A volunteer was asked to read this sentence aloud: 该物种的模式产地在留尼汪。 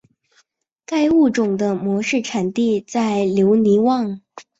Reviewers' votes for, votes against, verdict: 2, 0, accepted